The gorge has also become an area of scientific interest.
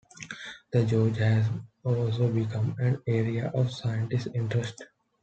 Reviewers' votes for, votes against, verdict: 2, 1, accepted